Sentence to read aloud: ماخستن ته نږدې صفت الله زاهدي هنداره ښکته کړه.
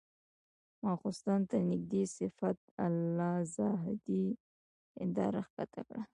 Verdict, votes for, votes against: rejected, 1, 2